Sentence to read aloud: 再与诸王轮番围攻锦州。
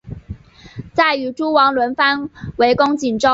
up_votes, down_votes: 3, 0